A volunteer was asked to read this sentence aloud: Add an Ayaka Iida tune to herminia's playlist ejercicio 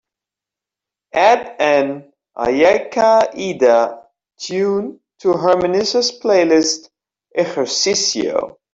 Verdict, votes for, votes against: accepted, 2, 1